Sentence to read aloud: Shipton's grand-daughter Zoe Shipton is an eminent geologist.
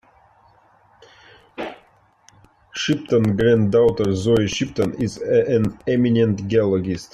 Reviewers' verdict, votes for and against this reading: rejected, 1, 3